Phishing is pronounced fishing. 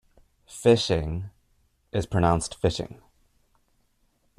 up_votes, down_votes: 2, 1